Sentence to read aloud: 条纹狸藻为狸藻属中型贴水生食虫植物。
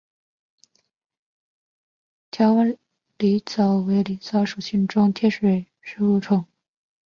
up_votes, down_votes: 0, 3